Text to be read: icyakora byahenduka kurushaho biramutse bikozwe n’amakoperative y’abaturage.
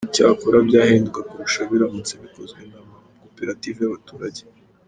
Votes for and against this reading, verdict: 1, 2, rejected